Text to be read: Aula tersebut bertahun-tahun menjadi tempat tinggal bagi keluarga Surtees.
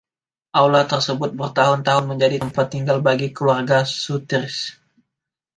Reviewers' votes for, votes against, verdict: 1, 2, rejected